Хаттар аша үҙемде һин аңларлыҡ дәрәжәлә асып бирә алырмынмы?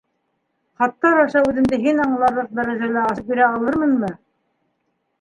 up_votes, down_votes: 1, 2